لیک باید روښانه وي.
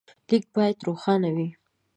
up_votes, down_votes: 2, 0